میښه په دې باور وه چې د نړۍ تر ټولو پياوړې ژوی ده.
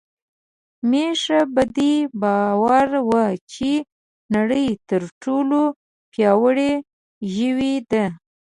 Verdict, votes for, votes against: rejected, 1, 2